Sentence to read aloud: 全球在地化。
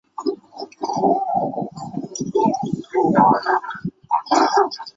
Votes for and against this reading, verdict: 0, 3, rejected